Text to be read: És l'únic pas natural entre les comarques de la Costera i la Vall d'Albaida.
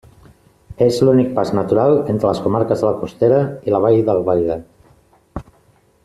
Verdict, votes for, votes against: accepted, 2, 0